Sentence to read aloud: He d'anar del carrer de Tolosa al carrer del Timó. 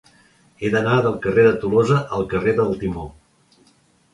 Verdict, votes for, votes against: accepted, 3, 0